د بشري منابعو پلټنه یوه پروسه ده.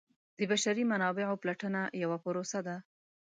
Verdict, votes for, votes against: accepted, 2, 0